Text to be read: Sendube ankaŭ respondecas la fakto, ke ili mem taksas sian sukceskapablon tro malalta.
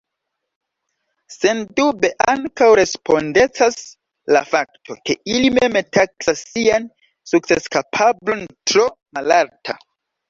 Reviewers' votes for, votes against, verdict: 2, 1, accepted